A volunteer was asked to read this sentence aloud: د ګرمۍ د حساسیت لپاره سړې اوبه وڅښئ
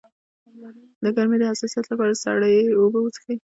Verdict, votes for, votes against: accepted, 2, 0